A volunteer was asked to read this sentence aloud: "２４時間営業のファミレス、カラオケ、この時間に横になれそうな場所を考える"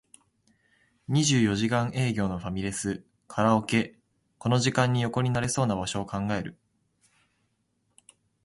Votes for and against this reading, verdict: 0, 2, rejected